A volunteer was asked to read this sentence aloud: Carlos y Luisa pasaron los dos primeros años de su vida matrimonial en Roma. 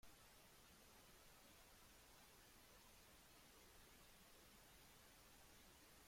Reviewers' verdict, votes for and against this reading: rejected, 0, 2